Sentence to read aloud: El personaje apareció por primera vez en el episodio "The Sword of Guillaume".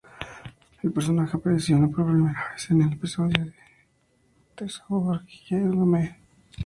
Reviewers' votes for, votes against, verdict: 0, 4, rejected